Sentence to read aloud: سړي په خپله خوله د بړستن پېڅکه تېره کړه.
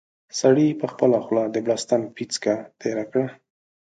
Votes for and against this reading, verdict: 2, 0, accepted